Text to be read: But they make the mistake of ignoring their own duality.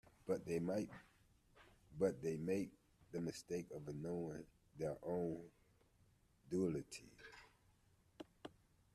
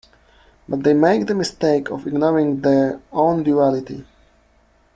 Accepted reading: second